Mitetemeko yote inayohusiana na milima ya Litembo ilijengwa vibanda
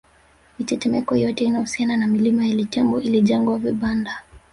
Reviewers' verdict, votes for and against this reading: rejected, 0, 2